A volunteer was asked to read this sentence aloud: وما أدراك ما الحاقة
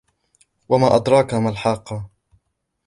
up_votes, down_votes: 2, 0